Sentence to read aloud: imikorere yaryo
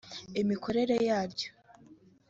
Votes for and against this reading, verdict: 2, 0, accepted